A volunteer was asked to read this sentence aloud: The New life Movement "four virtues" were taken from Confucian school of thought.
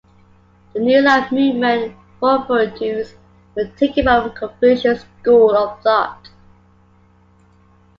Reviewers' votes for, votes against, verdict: 2, 0, accepted